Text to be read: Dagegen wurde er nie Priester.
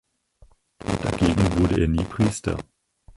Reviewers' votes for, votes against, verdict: 0, 4, rejected